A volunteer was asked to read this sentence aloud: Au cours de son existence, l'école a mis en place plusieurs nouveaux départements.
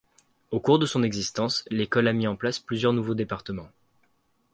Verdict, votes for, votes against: accepted, 2, 0